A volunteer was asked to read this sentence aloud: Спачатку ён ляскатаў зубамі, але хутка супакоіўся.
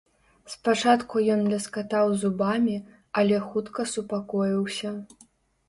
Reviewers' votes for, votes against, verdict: 2, 0, accepted